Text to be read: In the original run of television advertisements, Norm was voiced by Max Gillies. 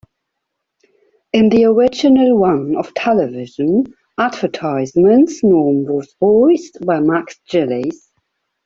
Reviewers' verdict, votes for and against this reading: rejected, 1, 2